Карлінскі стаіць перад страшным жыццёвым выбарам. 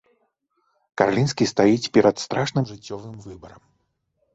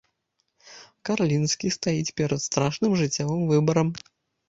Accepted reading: first